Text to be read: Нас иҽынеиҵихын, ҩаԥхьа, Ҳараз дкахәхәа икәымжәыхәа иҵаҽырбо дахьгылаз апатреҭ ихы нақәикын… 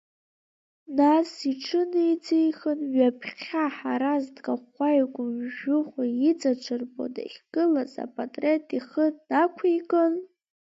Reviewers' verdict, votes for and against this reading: rejected, 1, 2